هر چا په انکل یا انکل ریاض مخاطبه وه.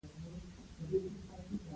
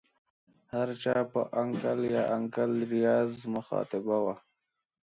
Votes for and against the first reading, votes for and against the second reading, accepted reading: 1, 2, 2, 0, second